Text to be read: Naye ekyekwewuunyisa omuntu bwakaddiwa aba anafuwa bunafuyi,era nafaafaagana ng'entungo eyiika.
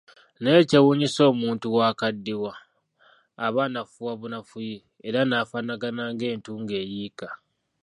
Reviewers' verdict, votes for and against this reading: rejected, 1, 2